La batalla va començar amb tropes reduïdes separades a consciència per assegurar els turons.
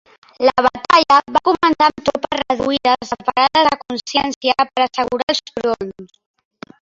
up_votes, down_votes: 0, 3